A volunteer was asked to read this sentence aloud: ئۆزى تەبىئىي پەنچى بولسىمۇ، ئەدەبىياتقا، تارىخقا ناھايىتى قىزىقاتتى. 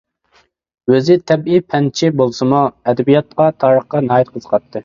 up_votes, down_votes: 2, 0